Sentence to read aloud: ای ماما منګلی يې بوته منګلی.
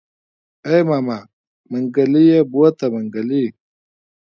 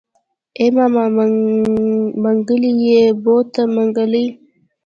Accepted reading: second